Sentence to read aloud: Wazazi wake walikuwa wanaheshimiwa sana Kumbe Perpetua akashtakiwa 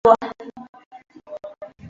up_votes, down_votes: 0, 2